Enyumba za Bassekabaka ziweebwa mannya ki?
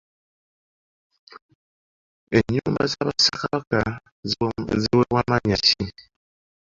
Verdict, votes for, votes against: accepted, 2, 1